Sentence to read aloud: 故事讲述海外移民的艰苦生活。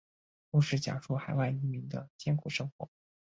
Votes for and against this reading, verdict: 4, 0, accepted